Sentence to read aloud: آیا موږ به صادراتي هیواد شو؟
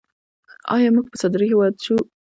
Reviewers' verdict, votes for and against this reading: rejected, 0, 2